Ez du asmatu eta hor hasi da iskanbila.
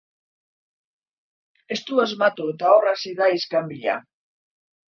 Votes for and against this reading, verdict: 3, 0, accepted